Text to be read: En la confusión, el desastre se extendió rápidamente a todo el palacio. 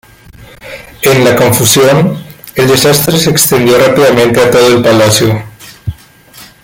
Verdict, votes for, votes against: accepted, 2, 1